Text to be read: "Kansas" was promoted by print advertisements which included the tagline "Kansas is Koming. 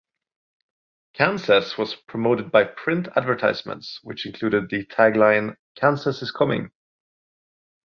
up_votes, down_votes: 2, 0